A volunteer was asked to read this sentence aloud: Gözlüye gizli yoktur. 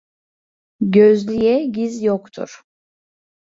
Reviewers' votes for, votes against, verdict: 0, 2, rejected